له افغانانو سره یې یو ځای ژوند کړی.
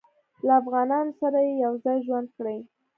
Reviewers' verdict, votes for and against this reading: accepted, 2, 0